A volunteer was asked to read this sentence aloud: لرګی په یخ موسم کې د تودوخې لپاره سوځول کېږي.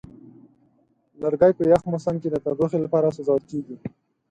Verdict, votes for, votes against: accepted, 4, 0